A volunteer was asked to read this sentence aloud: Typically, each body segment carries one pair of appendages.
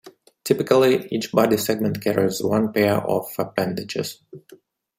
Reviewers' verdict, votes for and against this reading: accepted, 2, 0